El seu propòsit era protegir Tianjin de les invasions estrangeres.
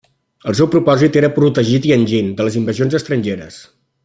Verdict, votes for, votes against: accepted, 2, 0